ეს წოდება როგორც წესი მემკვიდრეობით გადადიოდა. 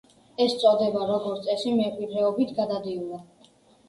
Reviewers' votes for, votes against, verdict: 2, 0, accepted